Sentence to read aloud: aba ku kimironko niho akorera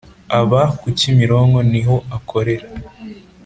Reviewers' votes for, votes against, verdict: 2, 0, accepted